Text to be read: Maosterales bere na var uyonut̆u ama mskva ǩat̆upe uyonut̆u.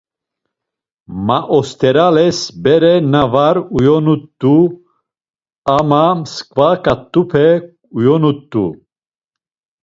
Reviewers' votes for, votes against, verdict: 2, 0, accepted